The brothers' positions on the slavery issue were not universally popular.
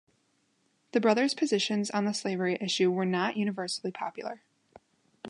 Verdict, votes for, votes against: accepted, 2, 0